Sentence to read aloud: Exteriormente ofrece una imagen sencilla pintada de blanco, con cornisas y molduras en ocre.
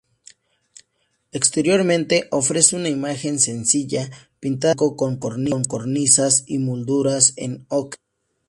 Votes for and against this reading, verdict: 0, 2, rejected